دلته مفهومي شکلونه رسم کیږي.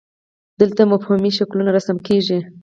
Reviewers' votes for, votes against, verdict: 4, 0, accepted